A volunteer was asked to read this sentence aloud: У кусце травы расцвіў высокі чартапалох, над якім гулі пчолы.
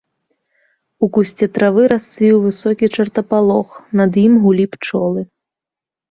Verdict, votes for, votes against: rejected, 0, 2